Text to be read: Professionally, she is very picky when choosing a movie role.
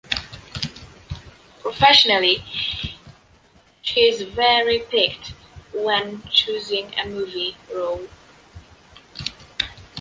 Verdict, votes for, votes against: rejected, 0, 2